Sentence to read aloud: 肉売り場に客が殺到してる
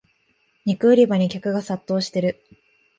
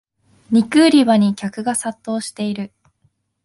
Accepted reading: first